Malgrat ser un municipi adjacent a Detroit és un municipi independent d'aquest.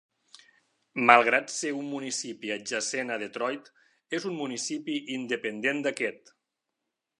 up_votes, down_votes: 3, 0